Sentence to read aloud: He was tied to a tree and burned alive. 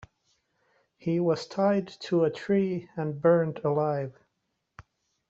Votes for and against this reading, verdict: 2, 0, accepted